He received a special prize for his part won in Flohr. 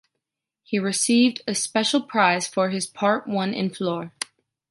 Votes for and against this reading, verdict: 2, 0, accepted